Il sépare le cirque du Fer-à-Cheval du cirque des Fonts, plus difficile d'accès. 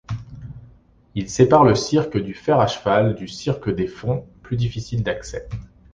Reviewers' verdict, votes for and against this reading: accepted, 2, 0